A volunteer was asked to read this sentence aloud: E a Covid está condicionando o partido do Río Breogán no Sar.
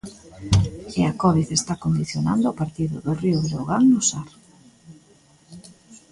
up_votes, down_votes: 3, 1